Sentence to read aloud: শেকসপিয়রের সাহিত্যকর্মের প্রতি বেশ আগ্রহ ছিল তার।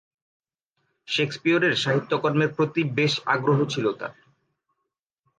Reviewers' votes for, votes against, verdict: 2, 1, accepted